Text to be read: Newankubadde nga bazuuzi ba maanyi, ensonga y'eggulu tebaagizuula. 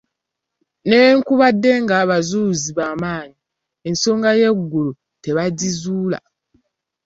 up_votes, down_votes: 0, 2